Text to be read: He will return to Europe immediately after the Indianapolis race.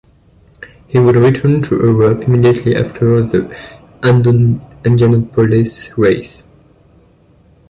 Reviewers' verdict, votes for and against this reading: rejected, 1, 3